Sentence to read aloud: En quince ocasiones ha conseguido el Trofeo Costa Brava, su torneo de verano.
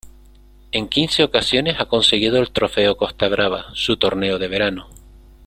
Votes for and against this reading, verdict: 2, 0, accepted